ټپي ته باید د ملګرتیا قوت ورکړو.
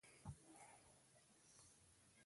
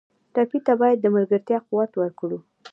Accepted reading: second